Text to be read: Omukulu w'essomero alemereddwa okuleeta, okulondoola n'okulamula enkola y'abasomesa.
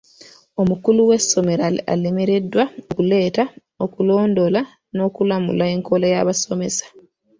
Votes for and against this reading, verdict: 2, 0, accepted